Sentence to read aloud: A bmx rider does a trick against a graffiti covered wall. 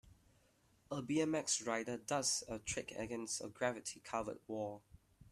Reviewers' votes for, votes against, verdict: 0, 2, rejected